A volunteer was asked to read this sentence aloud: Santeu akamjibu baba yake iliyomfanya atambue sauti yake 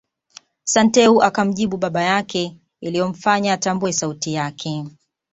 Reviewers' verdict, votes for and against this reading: accepted, 2, 0